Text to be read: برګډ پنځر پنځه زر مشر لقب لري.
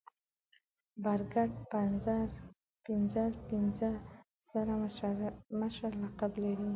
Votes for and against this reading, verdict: 2, 6, rejected